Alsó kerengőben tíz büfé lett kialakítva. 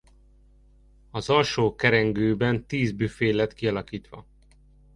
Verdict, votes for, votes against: rejected, 0, 2